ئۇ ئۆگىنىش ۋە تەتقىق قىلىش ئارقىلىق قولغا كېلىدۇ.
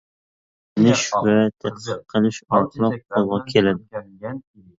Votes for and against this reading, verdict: 0, 2, rejected